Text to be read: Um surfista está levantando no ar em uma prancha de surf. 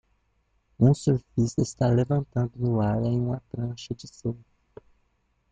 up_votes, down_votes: 1, 2